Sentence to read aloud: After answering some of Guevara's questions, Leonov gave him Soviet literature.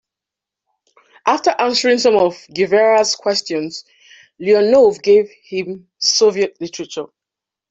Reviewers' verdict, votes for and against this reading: accepted, 2, 0